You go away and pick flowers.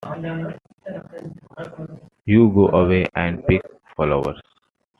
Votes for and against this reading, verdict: 2, 0, accepted